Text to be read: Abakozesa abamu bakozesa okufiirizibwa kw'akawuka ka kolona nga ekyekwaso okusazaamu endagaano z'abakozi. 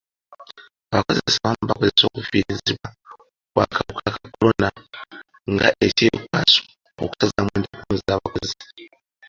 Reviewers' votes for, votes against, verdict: 0, 2, rejected